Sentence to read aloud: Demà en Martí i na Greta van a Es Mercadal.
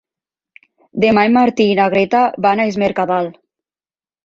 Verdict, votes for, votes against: accepted, 3, 0